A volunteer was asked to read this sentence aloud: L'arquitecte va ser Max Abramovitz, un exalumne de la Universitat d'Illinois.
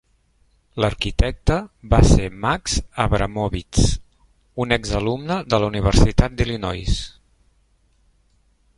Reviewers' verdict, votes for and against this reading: accepted, 4, 0